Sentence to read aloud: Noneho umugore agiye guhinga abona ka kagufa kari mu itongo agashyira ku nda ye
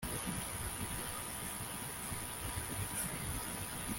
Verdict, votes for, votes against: rejected, 0, 2